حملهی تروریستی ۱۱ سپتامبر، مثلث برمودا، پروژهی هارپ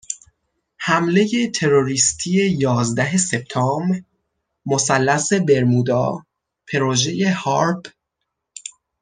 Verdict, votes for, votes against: rejected, 0, 2